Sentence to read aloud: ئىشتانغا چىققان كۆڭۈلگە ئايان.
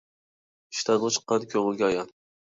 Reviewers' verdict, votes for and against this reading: rejected, 1, 2